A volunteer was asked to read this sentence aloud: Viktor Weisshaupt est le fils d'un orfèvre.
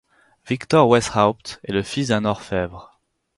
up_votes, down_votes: 4, 0